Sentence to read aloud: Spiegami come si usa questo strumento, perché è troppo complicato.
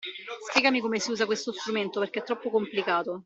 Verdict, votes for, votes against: accepted, 2, 0